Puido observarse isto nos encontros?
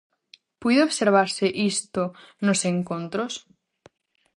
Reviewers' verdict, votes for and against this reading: accepted, 4, 0